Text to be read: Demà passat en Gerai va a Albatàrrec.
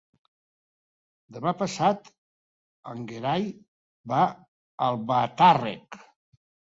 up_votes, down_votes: 1, 2